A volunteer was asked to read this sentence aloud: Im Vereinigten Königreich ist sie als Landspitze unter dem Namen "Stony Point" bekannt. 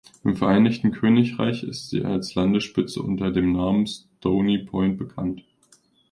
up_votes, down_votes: 1, 2